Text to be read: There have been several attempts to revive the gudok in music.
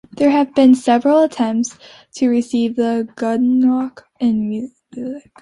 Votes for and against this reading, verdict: 0, 2, rejected